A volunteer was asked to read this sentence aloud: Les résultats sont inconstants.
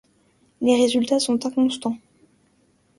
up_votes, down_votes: 2, 0